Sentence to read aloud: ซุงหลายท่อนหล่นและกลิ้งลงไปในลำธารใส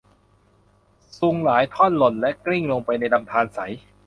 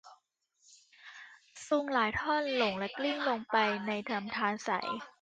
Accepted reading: first